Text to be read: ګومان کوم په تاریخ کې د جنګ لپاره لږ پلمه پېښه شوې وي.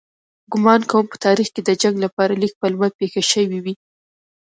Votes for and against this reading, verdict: 0, 2, rejected